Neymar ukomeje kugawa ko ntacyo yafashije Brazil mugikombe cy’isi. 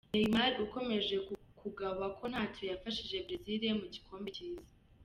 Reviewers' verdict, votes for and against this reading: accepted, 2, 0